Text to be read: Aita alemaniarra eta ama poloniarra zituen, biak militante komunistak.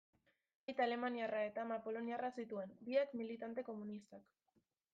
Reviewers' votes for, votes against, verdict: 2, 0, accepted